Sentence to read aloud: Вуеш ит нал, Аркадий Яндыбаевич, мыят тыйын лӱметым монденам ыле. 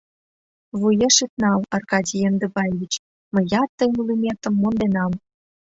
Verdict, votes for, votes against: rejected, 1, 2